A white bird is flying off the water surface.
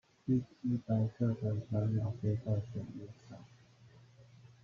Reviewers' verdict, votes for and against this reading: rejected, 0, 2